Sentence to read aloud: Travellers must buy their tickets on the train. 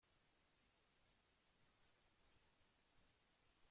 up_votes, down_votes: 0, 2